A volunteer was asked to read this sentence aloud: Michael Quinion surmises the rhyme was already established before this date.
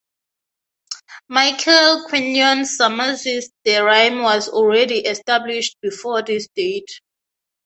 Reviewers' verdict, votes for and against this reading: accepted, 3, 0